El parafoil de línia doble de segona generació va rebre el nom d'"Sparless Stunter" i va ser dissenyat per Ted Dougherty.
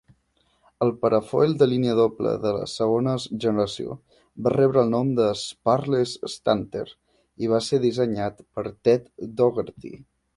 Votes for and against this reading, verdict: 2, 0, accepted